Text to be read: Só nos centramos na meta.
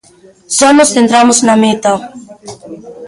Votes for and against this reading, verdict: 2, 1, accepted